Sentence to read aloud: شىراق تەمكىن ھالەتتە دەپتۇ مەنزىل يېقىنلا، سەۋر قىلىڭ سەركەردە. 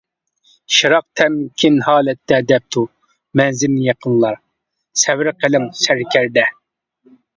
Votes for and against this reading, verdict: 2, 1, accepted